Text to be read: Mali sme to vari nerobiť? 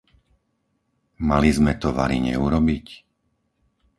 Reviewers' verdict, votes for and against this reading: rejected, 0, 4